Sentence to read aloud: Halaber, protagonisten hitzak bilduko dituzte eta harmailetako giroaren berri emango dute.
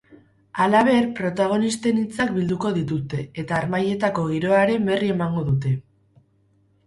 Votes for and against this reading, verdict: 2, 2, rejected